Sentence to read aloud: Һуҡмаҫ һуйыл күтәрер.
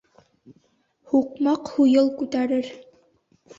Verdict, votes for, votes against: rejected, 1, 2